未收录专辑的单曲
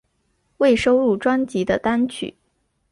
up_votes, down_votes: 2, 0